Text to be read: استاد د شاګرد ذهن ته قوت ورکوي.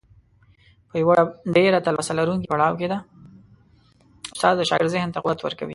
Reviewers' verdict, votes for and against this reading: rejected, 0, 2